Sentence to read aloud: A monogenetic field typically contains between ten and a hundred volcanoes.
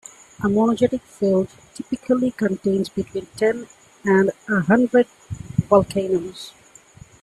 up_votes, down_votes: 2, 1